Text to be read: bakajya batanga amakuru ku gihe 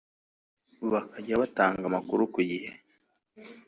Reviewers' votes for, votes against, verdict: 1, 2, rejected